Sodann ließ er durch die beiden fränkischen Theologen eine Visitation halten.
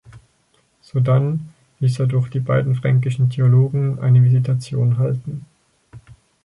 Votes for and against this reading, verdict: 2, 4, rejected